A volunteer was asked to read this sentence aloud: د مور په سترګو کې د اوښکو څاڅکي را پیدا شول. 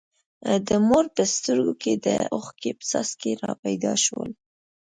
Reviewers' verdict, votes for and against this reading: accepted, 2, 1